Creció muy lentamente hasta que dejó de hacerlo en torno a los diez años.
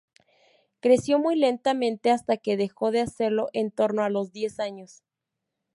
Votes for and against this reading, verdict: 4, 0, accepted